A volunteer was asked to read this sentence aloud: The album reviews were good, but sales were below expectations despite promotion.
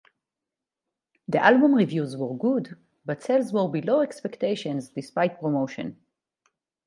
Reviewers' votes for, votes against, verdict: 4, 0, accepted